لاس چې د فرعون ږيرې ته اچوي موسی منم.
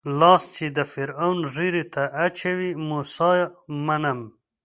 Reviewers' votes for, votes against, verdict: 2, 0, accepted